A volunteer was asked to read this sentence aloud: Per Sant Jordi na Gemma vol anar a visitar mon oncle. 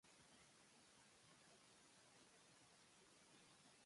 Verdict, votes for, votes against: rejected, 2, 3